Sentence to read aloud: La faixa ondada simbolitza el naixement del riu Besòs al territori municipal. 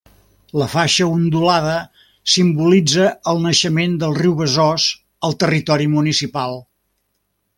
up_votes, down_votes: 1, 2